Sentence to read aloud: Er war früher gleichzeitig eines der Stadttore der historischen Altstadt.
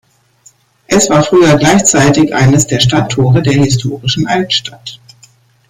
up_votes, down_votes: 2, 1